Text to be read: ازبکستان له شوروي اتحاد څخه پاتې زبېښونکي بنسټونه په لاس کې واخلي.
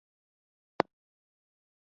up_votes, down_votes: 1, 2